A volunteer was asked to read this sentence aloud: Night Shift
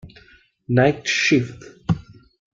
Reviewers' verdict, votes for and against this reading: accepted, 2, 0